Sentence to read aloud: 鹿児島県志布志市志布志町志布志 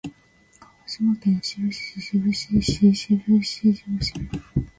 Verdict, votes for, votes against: rejected, 1, 2